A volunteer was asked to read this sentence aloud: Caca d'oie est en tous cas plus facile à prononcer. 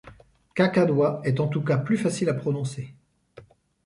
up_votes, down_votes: 2, 0